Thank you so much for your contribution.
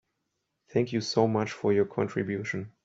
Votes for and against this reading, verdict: 2, 0, accepted